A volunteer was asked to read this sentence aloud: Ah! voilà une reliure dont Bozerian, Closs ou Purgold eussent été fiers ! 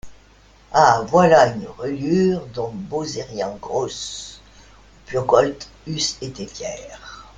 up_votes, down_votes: 1, 2